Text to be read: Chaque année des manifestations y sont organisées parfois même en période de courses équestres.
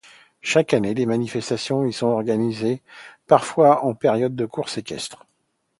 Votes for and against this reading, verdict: 1, 2, rejected